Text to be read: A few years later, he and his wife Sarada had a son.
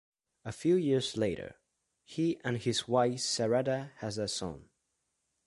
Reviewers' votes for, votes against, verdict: 0, 2, rejected